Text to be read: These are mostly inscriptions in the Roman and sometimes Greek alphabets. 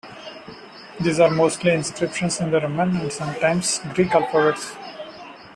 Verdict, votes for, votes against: accepted, 2, 0